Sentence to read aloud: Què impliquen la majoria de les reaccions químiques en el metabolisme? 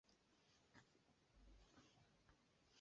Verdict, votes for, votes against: rejected, 0, 2